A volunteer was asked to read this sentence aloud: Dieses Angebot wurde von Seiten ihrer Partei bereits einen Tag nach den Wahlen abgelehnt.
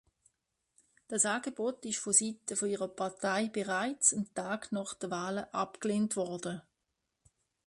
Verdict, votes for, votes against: rejected, 0, 2